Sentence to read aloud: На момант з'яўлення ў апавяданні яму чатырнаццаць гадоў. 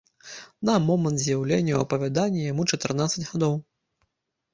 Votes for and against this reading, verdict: 2, 0, accepted